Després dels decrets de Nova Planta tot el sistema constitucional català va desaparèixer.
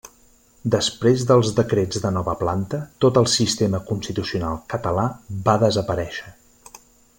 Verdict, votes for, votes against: accepted, 3, 0